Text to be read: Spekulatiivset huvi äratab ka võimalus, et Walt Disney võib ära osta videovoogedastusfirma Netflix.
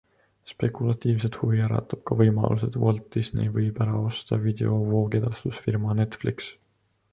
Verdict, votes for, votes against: accepted, 2, 0